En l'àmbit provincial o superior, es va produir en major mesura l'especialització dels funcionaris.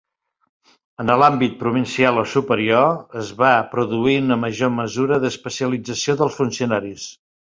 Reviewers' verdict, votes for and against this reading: rejected, 1, 2